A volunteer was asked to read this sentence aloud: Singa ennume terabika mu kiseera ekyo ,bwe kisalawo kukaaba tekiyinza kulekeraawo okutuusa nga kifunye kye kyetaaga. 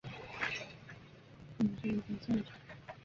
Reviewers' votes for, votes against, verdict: 0, 2, rejected